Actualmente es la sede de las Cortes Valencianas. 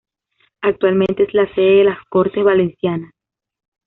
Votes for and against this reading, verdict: 2, 0, accepted